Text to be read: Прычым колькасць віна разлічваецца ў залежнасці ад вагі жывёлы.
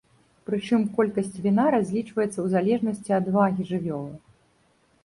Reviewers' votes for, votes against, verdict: 2, 0, accepted